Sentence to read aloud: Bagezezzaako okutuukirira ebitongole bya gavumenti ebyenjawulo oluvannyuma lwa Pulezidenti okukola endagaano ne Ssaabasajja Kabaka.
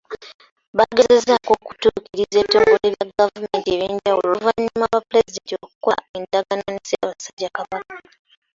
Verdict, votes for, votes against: accepted, 2, 1